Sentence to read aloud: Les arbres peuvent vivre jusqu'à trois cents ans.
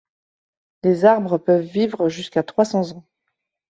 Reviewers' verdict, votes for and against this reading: accepted, 2, 0